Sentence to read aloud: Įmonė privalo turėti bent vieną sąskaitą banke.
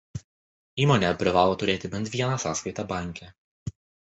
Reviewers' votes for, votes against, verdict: 2, 0, accepted